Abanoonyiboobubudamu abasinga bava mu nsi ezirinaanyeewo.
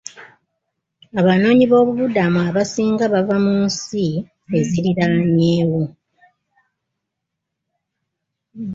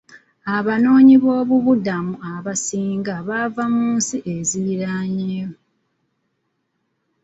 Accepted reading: first